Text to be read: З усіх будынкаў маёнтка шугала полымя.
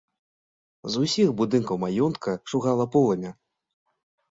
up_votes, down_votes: 2, 0